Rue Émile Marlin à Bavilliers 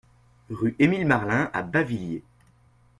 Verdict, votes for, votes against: accepted, 2, 0